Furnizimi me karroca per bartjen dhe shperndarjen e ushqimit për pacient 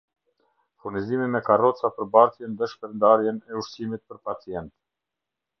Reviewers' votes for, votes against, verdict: 0, 2, rejected